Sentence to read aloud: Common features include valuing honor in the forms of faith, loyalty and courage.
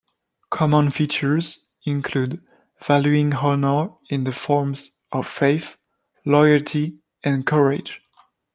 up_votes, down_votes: 2, 1